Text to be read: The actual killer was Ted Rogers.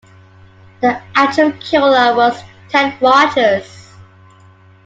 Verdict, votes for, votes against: accepted, 2, 0